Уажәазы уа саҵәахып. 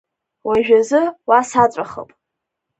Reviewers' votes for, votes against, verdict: 3, 1, accepted